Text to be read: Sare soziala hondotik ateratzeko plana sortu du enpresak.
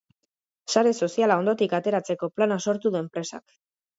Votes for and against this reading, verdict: 2, 0, accepted